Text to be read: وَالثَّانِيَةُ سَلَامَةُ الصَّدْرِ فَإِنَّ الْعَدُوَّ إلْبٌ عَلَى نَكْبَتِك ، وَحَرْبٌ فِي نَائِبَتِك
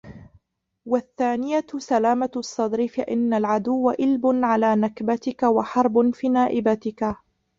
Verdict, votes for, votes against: rejected, 0, 2